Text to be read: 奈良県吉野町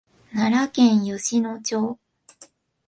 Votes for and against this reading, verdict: 2, 0, accepted